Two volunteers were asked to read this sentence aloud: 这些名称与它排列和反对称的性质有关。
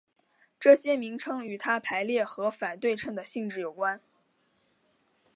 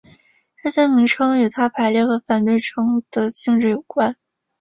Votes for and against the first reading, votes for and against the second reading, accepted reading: 3, 2, 0, 2, first